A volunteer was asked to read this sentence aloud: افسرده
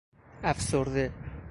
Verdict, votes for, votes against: accepted, 2, 1